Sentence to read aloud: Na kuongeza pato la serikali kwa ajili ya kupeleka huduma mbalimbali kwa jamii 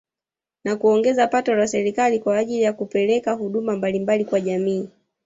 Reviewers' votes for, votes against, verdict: 1, 2, rejected